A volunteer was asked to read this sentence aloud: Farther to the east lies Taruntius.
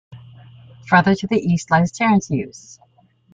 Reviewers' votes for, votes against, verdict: 0, 2, rejected